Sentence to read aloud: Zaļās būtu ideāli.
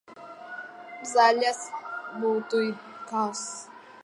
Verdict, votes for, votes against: rejected, 0, 2